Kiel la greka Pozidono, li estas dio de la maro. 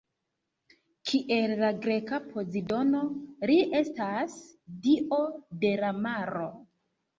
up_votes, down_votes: 2, 1